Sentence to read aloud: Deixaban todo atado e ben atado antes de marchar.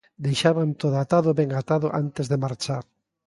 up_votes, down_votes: 2, 0